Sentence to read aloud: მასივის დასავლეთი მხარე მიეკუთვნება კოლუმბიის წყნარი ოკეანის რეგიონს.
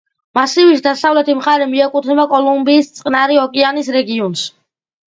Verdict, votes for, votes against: accepted, 2, 0